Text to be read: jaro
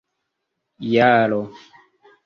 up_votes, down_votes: 3, 1